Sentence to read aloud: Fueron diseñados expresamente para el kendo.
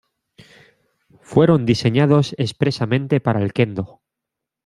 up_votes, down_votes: 2, 0